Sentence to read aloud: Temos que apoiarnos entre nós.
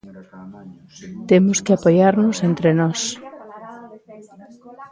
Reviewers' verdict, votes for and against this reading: rejected, 1, 2